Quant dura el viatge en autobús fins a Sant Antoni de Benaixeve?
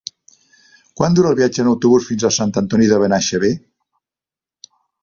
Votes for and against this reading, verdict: 2, 0, accepted